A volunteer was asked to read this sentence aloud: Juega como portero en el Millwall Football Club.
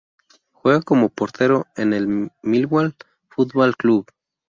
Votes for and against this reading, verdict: 0, 2, rejected